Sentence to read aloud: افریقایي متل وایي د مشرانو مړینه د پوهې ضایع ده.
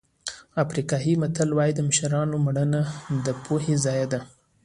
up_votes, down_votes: 2, 0